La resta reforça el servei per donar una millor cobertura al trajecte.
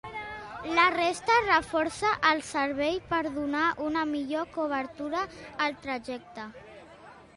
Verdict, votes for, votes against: accepted, 2, 0